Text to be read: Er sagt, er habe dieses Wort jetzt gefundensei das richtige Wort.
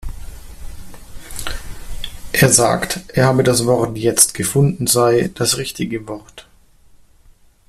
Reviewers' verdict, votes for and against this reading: rejected, 0, 2